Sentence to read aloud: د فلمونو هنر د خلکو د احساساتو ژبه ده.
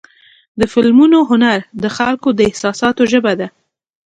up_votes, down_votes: 2, 0